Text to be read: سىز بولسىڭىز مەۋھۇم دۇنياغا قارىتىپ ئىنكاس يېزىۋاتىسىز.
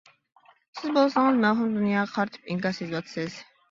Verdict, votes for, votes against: rejected, 1, 2